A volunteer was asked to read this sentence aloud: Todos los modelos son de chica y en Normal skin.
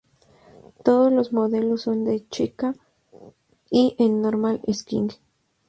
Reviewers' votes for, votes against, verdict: 0, 2, rejected